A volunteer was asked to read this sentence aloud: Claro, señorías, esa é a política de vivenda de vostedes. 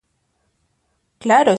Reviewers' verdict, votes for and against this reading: rejected, 0, 2